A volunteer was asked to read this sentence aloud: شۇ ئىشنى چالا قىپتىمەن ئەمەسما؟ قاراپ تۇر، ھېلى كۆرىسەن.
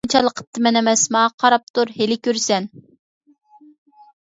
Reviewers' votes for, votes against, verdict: 1, 2, rejected